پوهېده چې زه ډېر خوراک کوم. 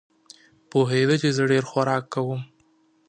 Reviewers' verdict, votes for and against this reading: accepted, 4, 0